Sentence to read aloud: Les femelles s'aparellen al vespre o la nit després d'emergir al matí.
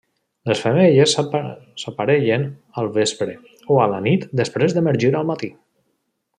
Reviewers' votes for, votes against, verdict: 1, 2, rejected